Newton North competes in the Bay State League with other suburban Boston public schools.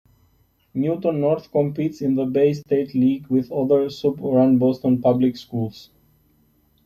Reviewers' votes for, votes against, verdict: 2, 0, accepted